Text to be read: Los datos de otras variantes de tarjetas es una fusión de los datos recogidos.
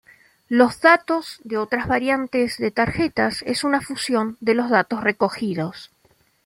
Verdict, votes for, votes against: accepted, 2, 0